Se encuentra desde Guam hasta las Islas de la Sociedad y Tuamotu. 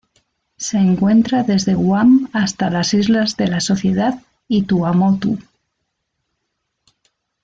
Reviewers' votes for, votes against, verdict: 2, 0, accepted